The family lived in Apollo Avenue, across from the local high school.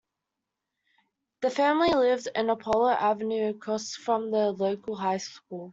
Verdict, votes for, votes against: accepted, 2, 0